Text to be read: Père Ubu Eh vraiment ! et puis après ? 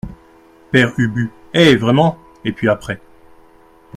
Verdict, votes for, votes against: accepted, 2, 0